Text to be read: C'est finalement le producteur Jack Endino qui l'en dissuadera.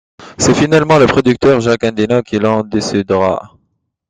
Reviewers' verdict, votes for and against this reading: rejected, 0, 2